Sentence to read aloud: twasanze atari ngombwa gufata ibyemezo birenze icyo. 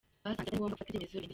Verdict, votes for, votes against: rejected, 0, 2